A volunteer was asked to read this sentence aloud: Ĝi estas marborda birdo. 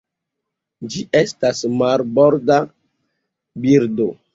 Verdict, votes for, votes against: accepted, 2, 0